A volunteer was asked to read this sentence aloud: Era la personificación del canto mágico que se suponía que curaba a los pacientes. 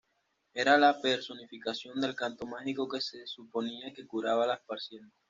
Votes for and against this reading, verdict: 1, 2, rejected